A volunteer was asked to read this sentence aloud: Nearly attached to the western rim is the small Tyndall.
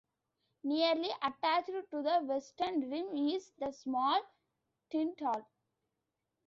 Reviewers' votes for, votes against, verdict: 2, 0, accepted